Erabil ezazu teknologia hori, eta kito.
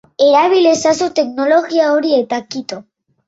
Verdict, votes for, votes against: rejected, 2, 3